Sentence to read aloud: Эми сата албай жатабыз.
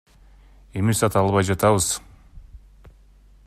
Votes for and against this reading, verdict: 2, 0, accepted